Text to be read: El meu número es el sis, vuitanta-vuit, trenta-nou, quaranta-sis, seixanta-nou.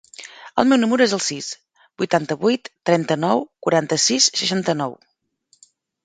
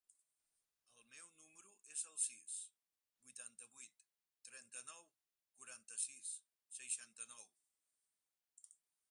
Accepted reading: first